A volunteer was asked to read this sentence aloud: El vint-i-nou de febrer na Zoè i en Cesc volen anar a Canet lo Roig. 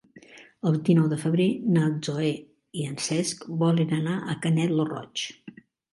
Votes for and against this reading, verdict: 1, 2, rejected